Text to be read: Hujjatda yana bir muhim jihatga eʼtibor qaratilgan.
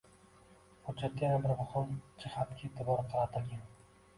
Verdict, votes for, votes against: rejected, 1, 2